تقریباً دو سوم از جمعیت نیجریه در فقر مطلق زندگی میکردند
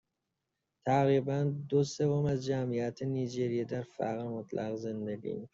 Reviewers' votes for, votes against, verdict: 1, 2, rejected